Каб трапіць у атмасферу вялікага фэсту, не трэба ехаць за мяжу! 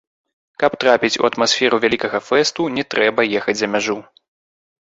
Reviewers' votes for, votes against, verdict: 2, 3, rejected